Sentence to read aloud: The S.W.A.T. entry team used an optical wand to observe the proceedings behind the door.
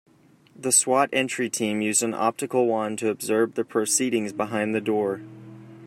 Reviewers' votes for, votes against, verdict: 2, 0, accepted